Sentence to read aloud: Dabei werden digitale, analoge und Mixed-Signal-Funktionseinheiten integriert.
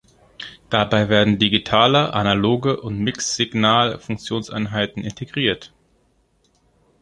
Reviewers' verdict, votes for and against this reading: rejected, 0, 2